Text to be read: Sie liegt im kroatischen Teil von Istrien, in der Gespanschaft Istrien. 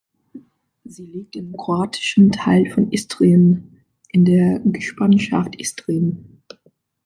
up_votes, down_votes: 2, 1